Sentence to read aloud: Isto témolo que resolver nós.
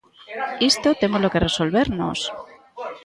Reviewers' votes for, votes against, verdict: 0, 2, rejected